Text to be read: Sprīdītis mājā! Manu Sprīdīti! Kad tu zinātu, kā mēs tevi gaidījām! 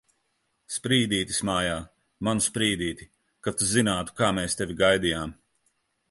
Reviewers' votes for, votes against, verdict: 3, 0, accepted